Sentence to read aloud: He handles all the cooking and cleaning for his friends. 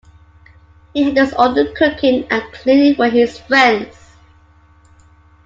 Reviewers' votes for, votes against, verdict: 2, 0, accepted